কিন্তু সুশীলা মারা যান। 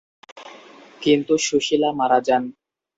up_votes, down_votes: 2, 0